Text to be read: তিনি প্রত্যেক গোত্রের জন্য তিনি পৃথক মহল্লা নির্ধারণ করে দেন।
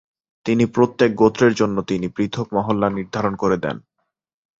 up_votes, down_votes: 1, 2